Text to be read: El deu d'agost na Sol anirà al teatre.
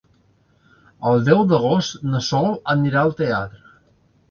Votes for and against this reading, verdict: 2, 0, accepted